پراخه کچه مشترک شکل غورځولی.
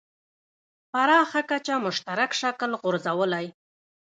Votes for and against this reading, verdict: 2, 1, accepted